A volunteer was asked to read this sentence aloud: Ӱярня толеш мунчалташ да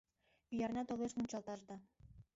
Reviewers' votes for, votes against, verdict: 1, 2, rejected